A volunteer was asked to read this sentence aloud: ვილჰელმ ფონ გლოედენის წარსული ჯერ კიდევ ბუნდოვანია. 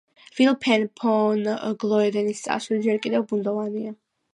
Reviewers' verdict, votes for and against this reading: accepted, 2, 1